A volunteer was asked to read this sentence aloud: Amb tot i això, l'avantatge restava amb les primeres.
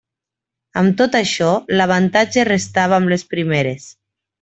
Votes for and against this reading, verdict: 2, 0, accepted